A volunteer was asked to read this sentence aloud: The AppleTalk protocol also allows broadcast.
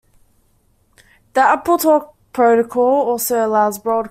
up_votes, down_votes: 0, 2